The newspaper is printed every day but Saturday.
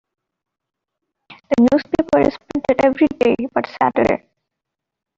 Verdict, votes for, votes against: rejected, 1, 2